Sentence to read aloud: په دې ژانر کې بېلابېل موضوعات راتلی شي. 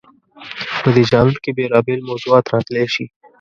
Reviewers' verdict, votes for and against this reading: rejected, 0, 2